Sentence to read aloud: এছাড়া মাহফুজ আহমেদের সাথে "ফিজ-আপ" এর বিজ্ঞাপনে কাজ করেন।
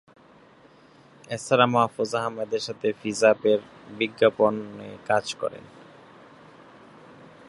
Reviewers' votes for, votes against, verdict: 0, 2, rejected